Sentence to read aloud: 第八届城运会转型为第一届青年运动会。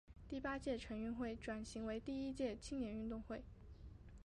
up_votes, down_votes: 1, 2